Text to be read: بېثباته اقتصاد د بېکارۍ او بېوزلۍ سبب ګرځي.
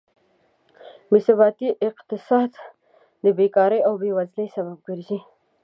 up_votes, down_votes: 0, 2